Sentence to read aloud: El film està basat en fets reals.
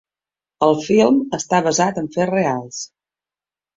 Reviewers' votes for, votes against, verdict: 2, 0, accepted